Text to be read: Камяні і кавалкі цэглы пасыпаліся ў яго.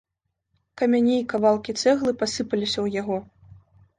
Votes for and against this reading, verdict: 2, 0, accepted